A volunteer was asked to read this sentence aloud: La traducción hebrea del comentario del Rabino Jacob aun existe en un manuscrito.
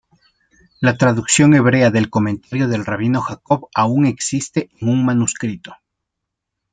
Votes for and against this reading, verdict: 2, 0, accepted